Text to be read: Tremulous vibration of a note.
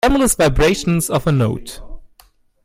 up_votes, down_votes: 1, 2